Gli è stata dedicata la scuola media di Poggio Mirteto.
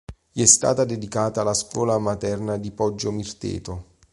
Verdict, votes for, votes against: rejected, 0, 2